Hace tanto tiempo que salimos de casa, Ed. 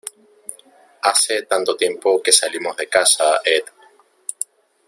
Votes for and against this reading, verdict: 1, 2, rejected